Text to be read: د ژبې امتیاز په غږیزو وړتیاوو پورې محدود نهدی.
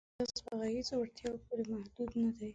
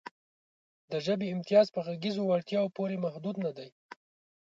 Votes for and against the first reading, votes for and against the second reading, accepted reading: 0, 2, 3, 0, second